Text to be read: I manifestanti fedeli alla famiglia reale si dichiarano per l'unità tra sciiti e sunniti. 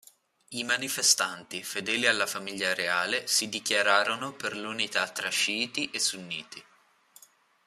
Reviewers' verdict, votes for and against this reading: rejected, 2, 3